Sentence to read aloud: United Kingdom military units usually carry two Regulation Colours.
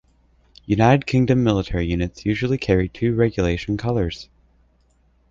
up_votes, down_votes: 3, 0